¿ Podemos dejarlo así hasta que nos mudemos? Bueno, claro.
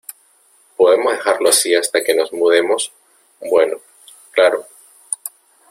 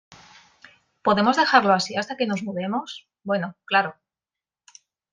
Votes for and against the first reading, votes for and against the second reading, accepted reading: 0, 2, 2, 0, second